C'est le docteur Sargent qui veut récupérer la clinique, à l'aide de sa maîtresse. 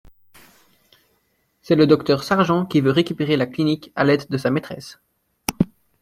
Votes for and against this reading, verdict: 2, 0, accepted